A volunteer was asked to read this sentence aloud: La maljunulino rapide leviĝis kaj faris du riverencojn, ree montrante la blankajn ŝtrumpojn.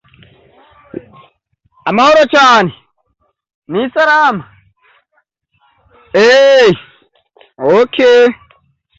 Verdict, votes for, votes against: rejected, 0, 2